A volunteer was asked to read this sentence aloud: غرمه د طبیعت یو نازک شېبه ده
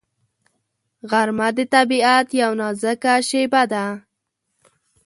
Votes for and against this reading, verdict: 2, 0, accepted